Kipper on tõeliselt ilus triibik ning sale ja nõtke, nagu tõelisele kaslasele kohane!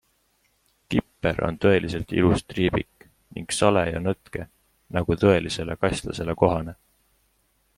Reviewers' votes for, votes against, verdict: 4, 0, accepted